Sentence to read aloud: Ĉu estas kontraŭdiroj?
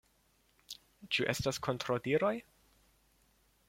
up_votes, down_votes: 2, 0